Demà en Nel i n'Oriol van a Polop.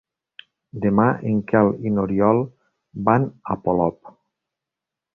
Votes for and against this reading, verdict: 0, 2, rejected